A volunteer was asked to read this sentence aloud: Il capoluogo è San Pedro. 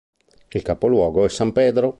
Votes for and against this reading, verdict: 4, 0, accepted